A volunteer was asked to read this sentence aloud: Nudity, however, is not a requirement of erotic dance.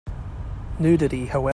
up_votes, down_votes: 0, 2